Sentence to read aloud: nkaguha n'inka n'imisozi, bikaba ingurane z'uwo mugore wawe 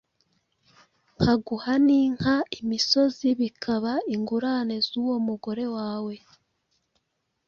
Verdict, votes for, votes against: accepted, 2, 0